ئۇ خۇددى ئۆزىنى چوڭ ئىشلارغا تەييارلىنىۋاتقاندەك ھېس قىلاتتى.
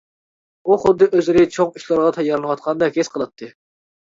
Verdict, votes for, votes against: rejected, 1, 2